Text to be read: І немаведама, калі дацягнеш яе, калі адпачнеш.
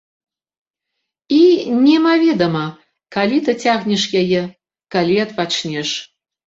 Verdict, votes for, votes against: accepted, 2, 0